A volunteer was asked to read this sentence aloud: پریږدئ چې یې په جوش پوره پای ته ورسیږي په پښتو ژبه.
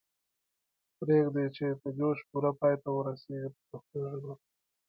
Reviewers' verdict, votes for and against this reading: accepted, 2, 1